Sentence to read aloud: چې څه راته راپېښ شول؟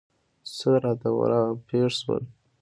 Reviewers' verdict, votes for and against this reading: rejected, 0, 2